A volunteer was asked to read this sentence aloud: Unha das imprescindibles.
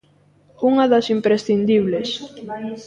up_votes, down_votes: 0, 2